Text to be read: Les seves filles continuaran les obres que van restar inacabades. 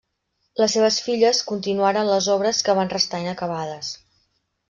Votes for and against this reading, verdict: 1, 2, rejected